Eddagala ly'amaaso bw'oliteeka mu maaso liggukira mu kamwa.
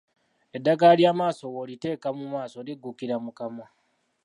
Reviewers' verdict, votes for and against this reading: accepted, 2, 0